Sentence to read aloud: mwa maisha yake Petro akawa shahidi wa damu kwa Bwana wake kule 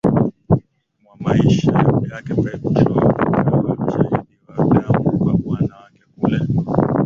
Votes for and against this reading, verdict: 0, 2, rejected